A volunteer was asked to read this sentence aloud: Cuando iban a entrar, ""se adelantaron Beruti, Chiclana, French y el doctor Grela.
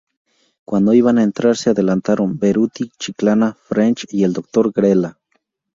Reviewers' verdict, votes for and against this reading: accepted, 2, 0